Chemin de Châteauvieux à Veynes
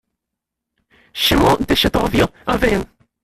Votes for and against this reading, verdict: 0, 2, rejected